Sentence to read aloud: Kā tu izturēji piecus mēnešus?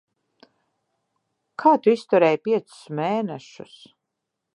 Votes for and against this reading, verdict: 2, 0, accepted